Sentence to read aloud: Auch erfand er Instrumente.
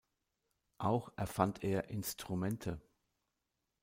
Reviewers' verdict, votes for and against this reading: accepted, 2, 0